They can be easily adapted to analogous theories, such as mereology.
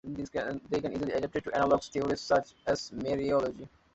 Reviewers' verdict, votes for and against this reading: rejected, 0, 2